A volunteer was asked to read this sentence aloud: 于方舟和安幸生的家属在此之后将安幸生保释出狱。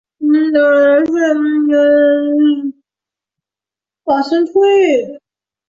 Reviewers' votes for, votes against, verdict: 0, 2, rejected